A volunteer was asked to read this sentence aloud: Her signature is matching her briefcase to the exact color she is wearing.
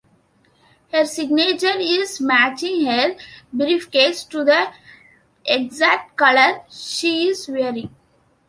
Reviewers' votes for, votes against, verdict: 2, 0, accepted